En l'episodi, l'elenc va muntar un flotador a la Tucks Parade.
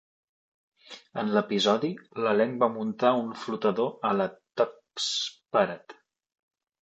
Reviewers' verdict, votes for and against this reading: rejected, 0, 2